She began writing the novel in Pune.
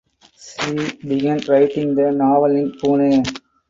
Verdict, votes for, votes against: rejected, 0, 4